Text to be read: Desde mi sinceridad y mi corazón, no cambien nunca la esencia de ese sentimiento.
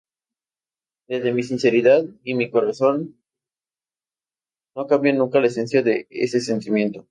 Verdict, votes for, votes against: rejected, 0, 2